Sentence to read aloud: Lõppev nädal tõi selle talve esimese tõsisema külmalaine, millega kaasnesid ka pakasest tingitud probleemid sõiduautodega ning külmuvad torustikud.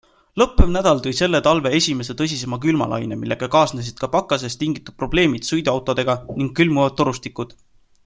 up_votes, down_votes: 2, 0